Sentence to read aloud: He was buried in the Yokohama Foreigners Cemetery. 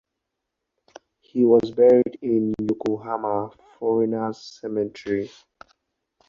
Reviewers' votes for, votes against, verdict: 0, 2, rejected